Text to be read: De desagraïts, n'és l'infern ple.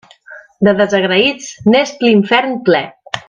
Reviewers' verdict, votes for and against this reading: accepted, 3, 0